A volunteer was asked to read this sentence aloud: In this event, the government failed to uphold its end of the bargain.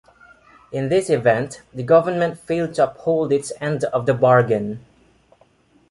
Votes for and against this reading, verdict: 2, 0, accepted